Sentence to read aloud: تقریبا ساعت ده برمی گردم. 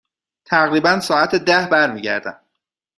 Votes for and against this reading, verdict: 2, 0, accepted